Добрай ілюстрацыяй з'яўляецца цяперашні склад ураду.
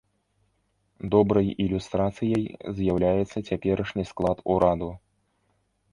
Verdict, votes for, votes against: rejected, 1, 2